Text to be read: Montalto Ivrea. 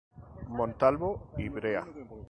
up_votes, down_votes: 0, 2